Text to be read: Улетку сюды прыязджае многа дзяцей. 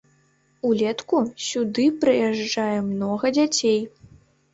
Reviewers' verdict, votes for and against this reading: accepted, 2, 0